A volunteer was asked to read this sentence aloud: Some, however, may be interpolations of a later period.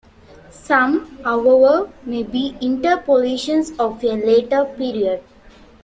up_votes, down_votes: 0, 2